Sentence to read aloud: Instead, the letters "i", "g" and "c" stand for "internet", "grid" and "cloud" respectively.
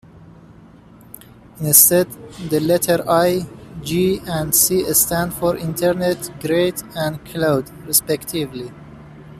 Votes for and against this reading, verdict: 2, 0, accepted